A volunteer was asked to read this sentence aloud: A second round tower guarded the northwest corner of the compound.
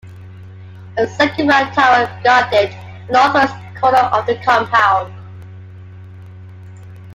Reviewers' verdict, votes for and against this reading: rejected, 0, 2